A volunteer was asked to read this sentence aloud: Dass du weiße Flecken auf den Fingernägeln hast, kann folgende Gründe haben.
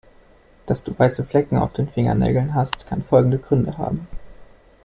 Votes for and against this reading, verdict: 2, 0, accepted